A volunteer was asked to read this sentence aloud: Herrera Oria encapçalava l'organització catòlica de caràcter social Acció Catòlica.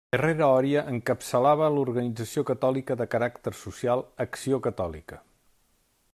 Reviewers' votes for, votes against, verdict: 3, 0, accepted